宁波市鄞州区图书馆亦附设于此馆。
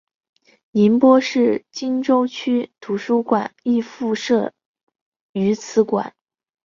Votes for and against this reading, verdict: 2, 0, accepted